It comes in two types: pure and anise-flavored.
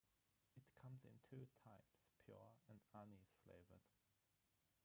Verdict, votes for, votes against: rejected, 0, 6